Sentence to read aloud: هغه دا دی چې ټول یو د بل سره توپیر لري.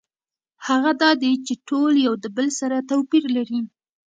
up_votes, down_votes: 2, 1